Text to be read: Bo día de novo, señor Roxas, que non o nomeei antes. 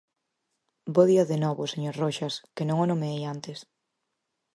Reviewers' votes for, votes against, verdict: 4, 0, accepted